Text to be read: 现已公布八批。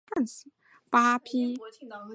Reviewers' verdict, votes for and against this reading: rejected, 4, 6